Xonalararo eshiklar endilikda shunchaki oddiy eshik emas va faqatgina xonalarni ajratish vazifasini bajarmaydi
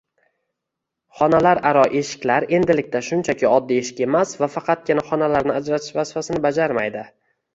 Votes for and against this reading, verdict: 1, 2, rejected